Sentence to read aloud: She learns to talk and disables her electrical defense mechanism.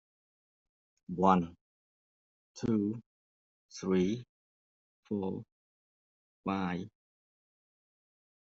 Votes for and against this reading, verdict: 0, 2, rejected